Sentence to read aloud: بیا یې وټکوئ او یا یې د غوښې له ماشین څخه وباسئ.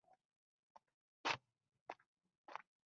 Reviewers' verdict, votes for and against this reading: rejected, 0, 2